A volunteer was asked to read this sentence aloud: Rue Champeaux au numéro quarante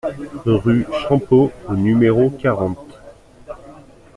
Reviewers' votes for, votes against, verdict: 3, 0, accepted